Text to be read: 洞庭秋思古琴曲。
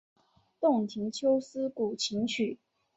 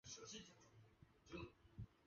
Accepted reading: first